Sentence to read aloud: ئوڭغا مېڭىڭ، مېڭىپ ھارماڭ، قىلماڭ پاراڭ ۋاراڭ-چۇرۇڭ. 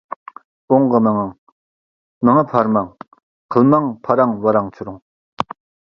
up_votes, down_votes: 2, 0